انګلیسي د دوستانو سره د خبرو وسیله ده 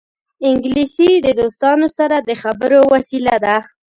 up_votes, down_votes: 2, 0